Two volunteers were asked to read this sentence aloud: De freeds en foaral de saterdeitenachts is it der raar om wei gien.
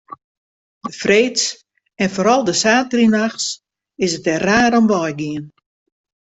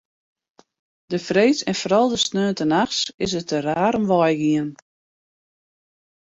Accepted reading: first